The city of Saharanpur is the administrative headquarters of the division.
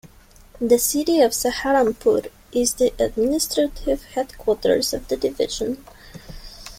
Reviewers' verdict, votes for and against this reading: accepted, 2, 0